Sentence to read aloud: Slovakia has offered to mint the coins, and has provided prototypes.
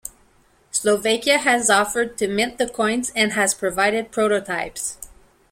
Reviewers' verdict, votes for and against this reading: accepted, 2, 1